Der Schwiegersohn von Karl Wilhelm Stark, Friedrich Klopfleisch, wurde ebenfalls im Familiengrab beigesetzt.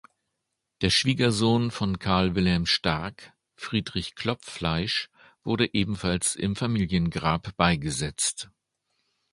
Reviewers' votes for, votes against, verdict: 2, 0, accepted